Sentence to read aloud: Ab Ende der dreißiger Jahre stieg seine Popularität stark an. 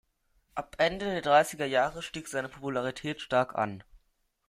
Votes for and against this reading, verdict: 1, 2, rejected